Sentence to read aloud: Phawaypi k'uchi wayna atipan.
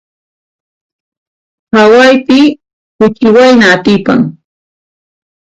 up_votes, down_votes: 0, 2